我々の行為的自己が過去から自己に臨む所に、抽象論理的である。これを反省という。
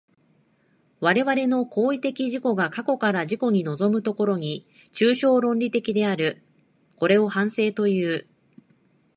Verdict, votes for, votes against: accepted, 2, 0